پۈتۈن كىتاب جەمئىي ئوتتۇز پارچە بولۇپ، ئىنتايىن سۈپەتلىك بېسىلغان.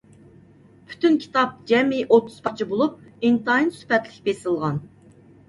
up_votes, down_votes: 2, 0